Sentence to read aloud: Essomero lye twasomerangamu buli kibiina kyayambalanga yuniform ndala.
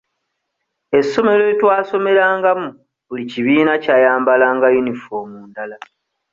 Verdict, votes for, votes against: accepted, 2, 0